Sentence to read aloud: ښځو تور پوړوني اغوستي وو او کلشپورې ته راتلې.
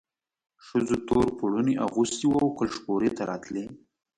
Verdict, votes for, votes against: rejected, 0, 2